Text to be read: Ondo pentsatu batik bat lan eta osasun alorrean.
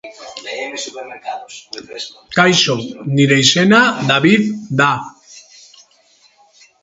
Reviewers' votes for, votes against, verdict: 1, 2, rejected